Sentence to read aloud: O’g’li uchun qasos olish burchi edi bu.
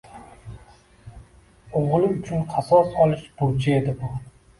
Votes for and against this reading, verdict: 2, 0, accepted